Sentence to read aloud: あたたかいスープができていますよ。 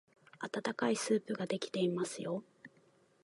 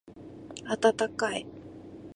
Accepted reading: first